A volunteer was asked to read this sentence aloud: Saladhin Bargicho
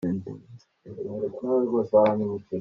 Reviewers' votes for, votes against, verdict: 1, 2, rejected